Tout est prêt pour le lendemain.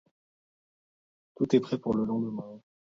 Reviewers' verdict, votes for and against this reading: rejected, 1, 2